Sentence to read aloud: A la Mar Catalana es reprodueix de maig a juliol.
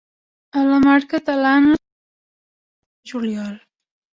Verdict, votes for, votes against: rejected, 0, 3